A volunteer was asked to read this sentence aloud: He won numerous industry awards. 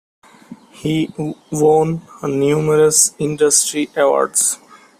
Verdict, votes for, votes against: rejected, 0, 2